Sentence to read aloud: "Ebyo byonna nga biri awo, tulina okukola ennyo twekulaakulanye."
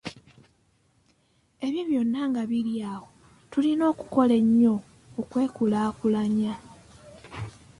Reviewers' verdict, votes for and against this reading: rejected, 1, 2